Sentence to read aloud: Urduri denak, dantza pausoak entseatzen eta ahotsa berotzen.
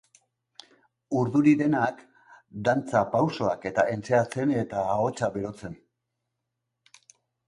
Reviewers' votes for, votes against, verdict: 1, 3, rejected